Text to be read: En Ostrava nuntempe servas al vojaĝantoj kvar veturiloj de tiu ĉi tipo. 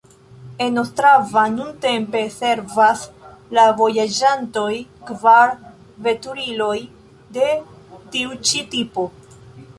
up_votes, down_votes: 0, 2